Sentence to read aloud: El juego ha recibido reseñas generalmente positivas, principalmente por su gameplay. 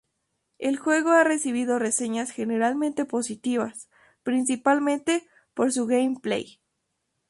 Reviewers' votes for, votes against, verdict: 2, 0, accepted